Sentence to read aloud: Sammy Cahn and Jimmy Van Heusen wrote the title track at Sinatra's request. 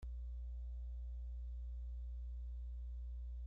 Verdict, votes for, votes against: rejected, 0, 2